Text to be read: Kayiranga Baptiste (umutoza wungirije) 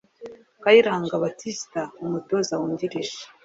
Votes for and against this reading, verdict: 3, 0, accepted